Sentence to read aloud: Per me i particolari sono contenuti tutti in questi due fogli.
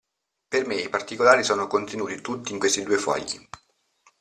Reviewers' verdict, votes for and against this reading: accepted, 2, 0